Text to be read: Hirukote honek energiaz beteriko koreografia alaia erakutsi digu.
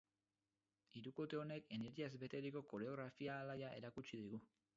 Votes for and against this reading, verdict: 0, 4, rejected